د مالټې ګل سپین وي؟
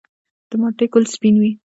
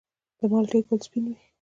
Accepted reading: second